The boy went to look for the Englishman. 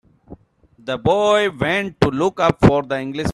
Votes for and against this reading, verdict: 0, 3, rejected